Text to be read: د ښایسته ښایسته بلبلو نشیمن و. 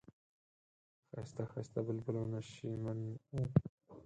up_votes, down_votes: 2, 6